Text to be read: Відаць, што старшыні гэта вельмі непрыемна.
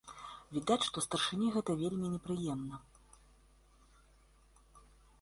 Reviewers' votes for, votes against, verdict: 2, 0, accepted